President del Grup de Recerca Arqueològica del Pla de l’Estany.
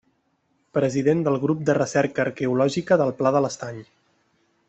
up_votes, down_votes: 2, 0